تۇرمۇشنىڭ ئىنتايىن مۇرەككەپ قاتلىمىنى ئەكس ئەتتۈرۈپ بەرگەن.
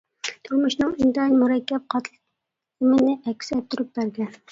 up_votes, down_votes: 0, 2